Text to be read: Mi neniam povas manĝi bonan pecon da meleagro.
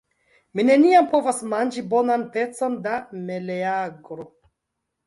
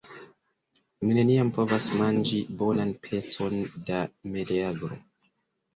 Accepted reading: first